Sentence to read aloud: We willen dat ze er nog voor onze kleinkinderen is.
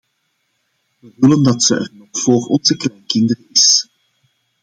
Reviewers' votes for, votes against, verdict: 1, 2, rejected